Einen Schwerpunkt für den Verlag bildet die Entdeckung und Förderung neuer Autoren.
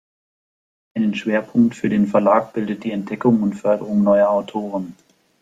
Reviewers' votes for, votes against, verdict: 2, 0, accepted